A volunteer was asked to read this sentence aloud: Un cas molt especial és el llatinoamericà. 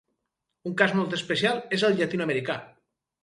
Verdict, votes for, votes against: accepted, 4, 0